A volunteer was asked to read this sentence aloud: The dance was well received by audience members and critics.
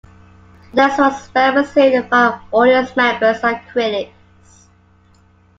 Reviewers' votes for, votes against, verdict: 0, 2, rejected